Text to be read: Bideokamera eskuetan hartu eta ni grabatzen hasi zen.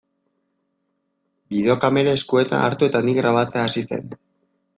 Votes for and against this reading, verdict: 1, 2, rejected